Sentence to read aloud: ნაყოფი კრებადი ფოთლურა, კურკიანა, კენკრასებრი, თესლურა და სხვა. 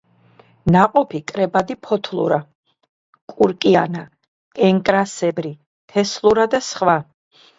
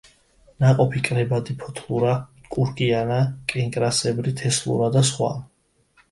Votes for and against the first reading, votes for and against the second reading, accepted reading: 0, 2, 2, 0, second